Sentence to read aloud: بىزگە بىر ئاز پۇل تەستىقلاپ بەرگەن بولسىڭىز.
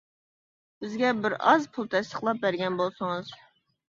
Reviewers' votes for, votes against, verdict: 2, 0, accepted